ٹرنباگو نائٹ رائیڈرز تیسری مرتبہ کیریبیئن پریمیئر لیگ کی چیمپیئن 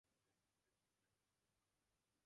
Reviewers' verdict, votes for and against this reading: rejected, 0, 2